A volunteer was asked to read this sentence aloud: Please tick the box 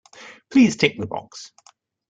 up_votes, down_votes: 2, 0